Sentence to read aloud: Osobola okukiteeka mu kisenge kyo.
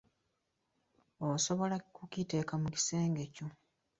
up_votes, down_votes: 2, 1